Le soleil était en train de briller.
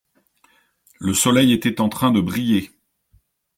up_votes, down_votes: 2, 0